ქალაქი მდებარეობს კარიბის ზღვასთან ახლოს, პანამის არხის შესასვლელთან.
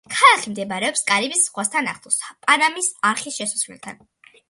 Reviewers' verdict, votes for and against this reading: accepted, 2, 0